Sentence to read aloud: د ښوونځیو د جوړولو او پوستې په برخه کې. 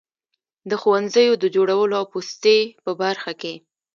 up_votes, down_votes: 2, 0